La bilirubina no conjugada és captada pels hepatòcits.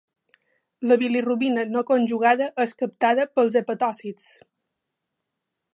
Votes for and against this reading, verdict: 2, 0, accepted